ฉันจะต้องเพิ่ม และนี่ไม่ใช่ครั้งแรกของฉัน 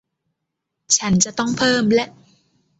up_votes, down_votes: 0, 2